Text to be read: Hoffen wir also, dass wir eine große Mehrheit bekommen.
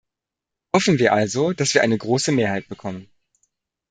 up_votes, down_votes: 1, 2